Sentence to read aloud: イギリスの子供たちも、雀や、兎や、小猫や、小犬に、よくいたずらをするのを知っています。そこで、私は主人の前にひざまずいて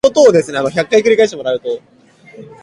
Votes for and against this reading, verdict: 2, 5, rejected